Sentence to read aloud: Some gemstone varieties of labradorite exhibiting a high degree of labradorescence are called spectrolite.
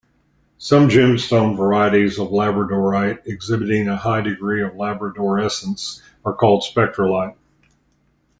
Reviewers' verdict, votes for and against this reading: accepted, 2, 0